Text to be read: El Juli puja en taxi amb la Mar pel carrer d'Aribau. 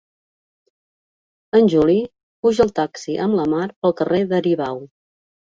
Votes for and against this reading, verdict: 1, 3, rejected